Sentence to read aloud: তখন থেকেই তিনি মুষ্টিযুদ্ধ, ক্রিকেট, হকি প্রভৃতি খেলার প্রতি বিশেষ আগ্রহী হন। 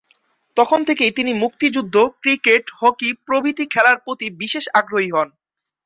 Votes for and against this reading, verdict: 1, 2, rejected